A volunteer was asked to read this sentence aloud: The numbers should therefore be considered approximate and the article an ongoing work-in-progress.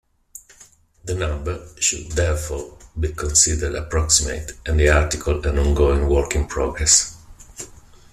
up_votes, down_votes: 1, 2